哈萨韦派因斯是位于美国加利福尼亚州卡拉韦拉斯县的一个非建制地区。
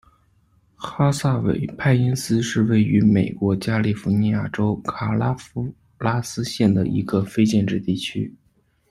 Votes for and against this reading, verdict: 0, 2, rejected